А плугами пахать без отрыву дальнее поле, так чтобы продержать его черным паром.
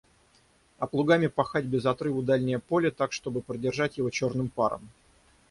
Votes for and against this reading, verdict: 6, 0, accepted